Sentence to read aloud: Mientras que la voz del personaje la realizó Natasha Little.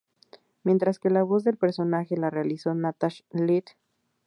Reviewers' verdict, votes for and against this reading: accepted, 2, 0